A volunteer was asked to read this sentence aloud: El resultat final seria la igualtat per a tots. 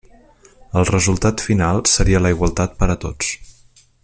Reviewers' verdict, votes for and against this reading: accepted, 3, 1